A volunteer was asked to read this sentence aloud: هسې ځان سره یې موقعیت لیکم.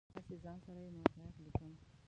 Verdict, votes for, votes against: rejected, 1, 2